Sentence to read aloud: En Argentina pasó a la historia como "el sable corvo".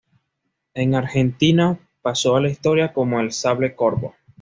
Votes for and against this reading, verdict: 2, 0, accepted